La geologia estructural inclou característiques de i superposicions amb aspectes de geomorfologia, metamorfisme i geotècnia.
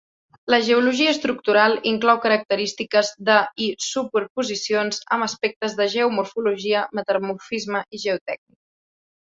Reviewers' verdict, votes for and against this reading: accepted, 2, 0